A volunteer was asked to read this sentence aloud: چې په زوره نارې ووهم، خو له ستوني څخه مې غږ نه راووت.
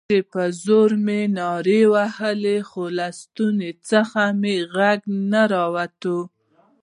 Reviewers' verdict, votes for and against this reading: rejected, 1, 2